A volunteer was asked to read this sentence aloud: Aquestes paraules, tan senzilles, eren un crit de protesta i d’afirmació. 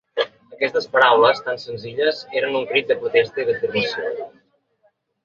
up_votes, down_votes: 2, 0